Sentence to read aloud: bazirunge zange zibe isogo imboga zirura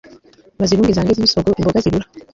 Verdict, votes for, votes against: rejected, 0, 2